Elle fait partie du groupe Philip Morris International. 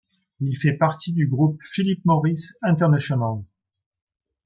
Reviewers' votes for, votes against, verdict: 0, 2, rejected